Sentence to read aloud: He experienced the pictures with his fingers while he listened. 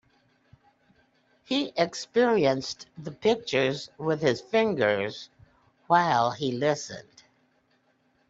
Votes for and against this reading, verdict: 2, 0, accepted